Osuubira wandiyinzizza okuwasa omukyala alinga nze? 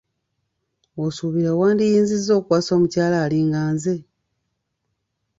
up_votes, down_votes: 2, 0